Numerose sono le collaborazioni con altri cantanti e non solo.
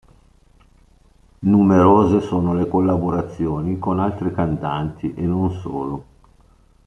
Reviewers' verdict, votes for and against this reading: accepted, 2, 0